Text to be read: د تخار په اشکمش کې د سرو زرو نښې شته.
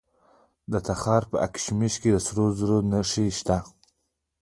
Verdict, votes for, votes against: rejected, 1, 2